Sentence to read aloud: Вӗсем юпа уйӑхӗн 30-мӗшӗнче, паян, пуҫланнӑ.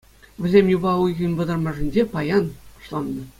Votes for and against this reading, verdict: 0, 2, rejected